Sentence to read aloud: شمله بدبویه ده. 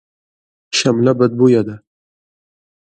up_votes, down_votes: 2, 0